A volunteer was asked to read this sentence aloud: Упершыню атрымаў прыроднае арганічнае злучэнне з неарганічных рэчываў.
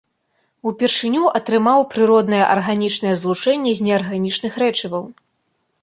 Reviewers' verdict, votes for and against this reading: accepted, 2, 0